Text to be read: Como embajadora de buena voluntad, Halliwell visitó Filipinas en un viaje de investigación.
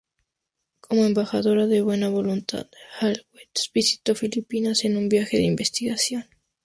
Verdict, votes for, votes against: rejected, 0, 2